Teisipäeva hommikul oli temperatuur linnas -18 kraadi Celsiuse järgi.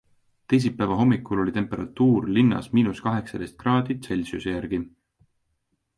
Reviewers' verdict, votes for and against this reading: rejected, 0, 2